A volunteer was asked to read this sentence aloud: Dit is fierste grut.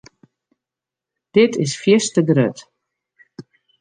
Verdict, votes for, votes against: accepted, 2, 0